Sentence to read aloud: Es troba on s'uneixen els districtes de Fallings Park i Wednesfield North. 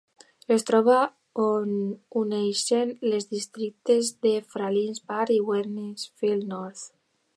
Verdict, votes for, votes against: rejected, 0, 2